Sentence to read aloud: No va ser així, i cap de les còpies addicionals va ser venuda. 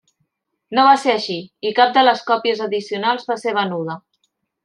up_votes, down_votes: 3, 0